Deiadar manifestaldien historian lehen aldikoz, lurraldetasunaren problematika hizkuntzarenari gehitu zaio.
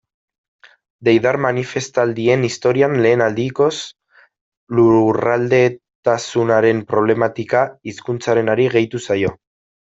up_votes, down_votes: 1, 2